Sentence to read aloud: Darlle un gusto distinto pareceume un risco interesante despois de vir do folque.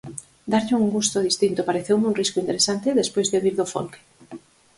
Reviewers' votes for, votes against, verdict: 4, 0, accepted